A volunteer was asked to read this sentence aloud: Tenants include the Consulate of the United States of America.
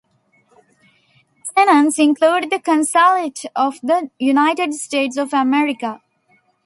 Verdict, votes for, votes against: rejected, 1, 2